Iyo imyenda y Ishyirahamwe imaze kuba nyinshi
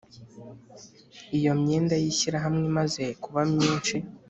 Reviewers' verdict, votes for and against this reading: accepted, 2, 0